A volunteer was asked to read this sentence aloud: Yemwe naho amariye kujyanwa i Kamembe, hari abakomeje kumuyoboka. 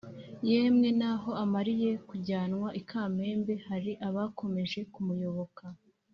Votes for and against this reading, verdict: 2, 0, accepted